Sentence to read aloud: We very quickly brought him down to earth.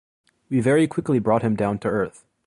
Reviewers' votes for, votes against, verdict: 2, 0, accepted